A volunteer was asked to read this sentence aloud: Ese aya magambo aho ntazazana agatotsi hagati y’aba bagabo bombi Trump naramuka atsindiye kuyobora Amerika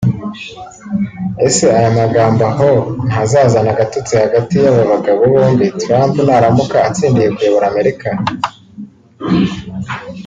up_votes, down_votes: 2, 0